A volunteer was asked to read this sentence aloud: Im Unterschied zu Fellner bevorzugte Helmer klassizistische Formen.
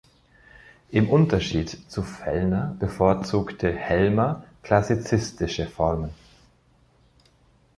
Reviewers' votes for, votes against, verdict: 2, 0, accepted